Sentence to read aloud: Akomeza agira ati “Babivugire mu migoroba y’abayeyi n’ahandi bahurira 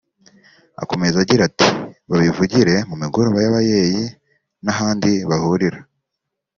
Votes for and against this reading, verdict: 3, 0, accepted